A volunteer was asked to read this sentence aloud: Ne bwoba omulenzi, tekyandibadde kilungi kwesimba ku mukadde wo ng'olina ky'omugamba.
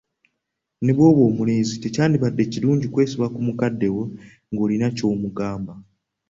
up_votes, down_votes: 2, 1